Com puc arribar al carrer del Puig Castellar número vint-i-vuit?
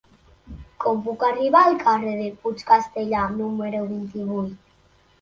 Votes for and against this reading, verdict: 1, 2, rejected